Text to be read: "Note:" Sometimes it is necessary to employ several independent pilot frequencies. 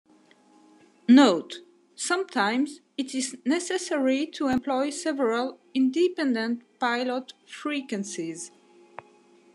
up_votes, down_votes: 2, 0